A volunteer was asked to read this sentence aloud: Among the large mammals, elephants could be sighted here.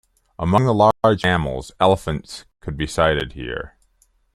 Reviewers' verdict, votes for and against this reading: accepted, 2, 1